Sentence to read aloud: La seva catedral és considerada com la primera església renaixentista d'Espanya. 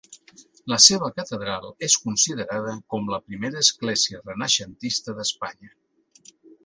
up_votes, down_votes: 2, 0